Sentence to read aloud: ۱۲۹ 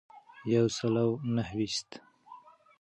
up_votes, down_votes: 0, 2